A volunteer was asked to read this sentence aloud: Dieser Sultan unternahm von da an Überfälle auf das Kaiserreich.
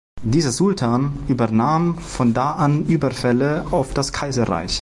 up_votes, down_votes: 0, 2